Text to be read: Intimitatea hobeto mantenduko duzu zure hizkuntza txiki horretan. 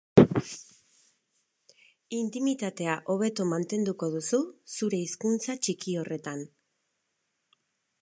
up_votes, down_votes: 4, 0